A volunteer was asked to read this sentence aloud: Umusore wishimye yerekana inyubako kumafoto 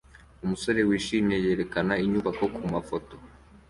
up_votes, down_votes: 2, 0